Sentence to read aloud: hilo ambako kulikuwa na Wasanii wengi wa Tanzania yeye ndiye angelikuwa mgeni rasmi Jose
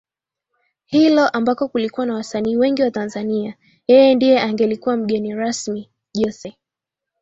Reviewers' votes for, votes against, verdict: 2, 0, accepted